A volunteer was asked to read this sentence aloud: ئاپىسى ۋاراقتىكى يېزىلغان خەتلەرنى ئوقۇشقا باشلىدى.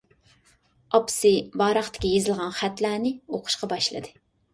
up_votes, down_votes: 3, 0